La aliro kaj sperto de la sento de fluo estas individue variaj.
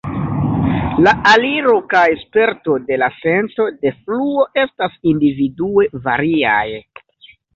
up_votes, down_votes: 0, 2